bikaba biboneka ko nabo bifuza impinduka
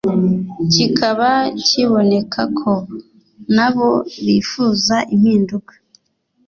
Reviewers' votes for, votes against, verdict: 1, 2, rejected